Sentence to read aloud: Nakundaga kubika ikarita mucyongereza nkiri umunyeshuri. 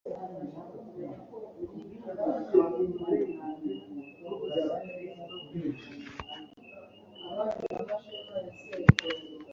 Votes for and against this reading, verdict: 1, 2, rejected